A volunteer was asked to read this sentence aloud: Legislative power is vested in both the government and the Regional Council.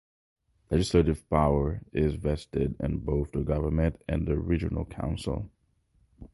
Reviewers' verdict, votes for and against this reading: accepted, 4, 0